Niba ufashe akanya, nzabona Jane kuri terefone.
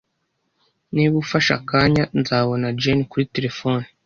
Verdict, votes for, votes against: accepted, 2, 0